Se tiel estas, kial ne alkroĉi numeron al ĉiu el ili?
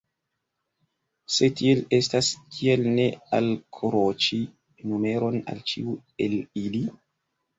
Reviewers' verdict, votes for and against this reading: accepted, 2, 1